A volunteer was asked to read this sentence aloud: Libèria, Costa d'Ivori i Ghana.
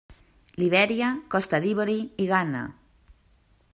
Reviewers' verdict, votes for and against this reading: rejected, 1, 2